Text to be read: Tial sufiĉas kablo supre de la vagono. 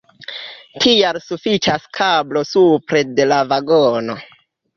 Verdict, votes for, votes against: rejected, 0, 2